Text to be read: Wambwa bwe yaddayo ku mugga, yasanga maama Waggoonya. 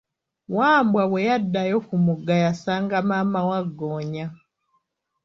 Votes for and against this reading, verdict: 2, 1, accepted